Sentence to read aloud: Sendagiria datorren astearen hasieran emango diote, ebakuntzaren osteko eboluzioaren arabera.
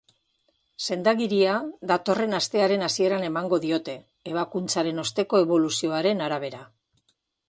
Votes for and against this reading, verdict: 2, 0, accepted